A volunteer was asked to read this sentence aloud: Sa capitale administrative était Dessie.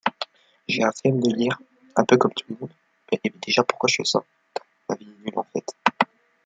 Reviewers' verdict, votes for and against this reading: rejected, 1, 2